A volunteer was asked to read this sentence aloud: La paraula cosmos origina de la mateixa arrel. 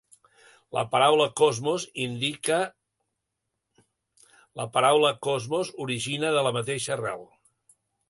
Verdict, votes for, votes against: rejected, 0, 2